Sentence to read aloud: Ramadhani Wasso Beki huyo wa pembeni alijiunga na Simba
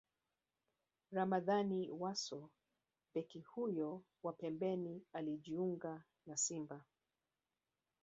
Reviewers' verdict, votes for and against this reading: rejected, 2, 3